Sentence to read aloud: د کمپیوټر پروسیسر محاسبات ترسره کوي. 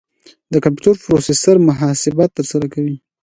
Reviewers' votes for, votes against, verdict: 2, 1, accepted